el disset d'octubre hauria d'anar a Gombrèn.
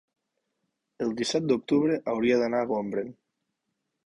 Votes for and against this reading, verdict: 1, 2, rejected